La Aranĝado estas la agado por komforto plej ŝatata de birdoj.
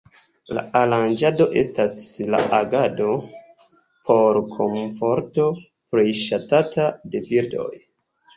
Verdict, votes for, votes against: accepted, 2, 0